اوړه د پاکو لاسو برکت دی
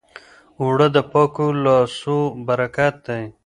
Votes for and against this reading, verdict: 1, 2, rejected